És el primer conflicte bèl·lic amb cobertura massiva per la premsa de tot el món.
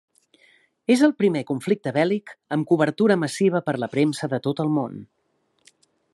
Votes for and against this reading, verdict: 3, 0, accepted